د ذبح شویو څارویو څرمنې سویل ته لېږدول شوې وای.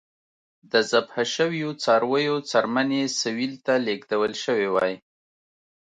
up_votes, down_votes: 2, 0